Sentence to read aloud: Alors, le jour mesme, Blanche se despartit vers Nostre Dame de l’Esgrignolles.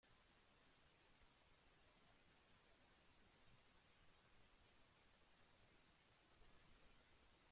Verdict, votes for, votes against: rejected, 0, 2